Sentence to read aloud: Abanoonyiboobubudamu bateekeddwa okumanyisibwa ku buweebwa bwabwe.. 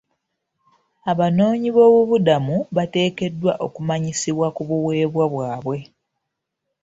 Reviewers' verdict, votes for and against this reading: accepted, 2, 0